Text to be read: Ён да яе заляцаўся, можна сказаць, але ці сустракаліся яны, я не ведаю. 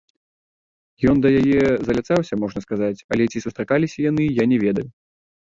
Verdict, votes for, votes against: rejected, 0, 2